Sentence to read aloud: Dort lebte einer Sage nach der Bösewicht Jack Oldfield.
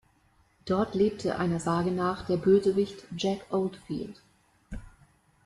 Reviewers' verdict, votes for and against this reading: rejected, 0, 2